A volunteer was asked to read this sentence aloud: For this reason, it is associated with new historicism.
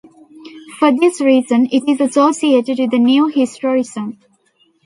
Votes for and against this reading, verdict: 1, 2, rejected